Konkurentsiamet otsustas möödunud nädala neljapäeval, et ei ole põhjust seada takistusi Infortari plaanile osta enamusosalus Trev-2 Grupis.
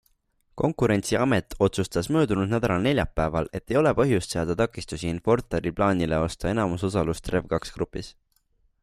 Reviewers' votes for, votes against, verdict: 0, 2, rejected